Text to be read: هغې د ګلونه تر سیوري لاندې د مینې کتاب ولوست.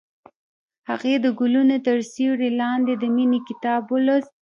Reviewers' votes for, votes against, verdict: 0, 2, rejected